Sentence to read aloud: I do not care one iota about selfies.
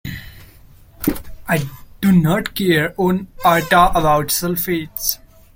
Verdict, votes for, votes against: rejected, 0, 2